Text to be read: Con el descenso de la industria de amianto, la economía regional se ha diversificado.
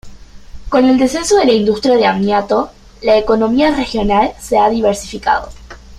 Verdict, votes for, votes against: rejected, 0, 2